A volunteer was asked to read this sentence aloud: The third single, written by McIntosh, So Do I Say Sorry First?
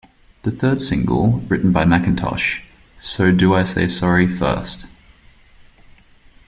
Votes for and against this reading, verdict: 1, 2, rejected